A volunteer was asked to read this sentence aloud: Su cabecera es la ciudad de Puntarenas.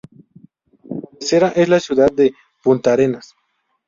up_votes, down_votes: 0, 2